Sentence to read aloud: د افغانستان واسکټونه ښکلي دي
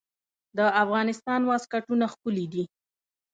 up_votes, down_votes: 1, 2